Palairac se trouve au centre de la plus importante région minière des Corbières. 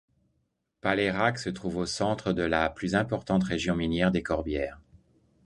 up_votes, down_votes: 2, 0